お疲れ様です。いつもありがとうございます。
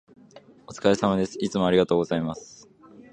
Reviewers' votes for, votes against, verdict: 2, 0, accepted